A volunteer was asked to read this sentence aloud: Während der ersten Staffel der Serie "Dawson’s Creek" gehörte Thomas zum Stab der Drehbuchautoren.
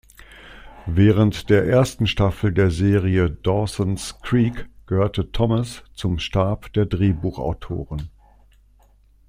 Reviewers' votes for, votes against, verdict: 2, 0, accepted